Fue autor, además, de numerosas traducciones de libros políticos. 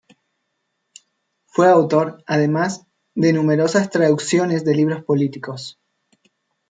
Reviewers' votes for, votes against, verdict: 2, 0, accepted